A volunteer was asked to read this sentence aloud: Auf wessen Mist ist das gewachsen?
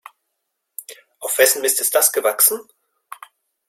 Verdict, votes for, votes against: accepted, 2, 0